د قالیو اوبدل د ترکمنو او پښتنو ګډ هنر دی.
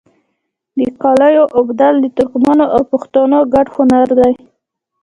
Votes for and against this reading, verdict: 0, 2, rejected